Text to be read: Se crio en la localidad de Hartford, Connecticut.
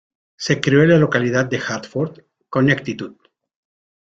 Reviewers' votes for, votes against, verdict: 1, 2, rejected